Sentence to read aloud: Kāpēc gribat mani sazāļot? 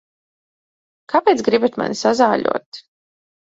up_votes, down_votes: 2, 0